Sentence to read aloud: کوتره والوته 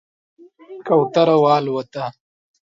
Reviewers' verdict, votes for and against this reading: accepted, 2, 0